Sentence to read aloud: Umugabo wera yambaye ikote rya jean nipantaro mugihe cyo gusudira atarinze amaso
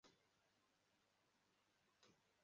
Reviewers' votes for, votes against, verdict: 0, 2, rejected